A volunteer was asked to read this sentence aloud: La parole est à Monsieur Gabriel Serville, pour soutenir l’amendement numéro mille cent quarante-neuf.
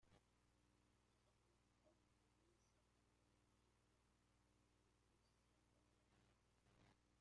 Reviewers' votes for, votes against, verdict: 0, 2, rejected